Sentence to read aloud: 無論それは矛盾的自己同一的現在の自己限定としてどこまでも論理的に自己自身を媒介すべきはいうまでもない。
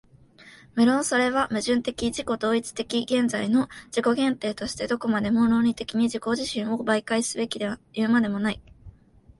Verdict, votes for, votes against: accepted, 2, 0